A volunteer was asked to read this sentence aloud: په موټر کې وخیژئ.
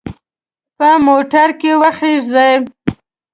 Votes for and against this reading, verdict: 2, 0, accepted